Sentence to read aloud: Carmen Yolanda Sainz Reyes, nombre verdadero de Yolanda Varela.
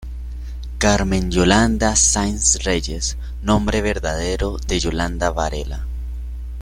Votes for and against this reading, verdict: 2, 0, accepted